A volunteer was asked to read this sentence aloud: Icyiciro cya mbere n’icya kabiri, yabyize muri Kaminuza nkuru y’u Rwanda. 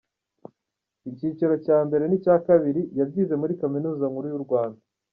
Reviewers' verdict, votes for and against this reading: accepted, 2, 1